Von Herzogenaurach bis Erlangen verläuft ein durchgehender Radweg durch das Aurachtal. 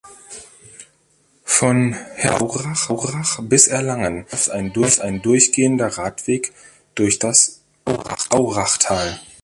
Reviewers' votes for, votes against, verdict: 0, 2, rejected